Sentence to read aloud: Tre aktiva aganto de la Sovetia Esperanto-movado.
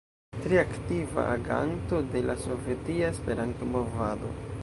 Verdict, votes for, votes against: rejected, 1, 2